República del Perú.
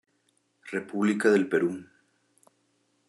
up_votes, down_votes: 2, 0